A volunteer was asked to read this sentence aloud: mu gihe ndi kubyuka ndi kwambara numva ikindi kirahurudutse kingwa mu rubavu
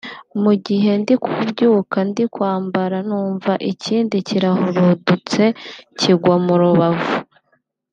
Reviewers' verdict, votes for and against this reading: accepted, 2, 0